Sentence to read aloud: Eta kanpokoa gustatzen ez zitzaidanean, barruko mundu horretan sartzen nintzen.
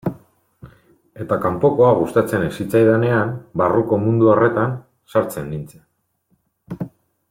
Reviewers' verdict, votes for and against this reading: accepted, 2, 0